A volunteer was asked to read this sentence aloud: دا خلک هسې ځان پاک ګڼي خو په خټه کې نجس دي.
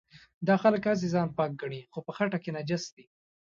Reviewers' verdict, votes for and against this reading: accepted, 2, 0